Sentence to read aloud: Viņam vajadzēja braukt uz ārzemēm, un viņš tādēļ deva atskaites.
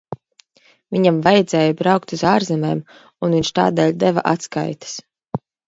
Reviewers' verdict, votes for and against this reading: accepted, 2, 0